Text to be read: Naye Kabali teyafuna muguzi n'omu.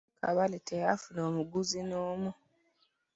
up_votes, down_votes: 1, 2